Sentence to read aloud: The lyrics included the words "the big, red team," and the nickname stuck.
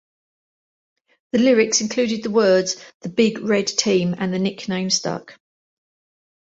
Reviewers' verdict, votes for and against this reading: accepted, 2, 0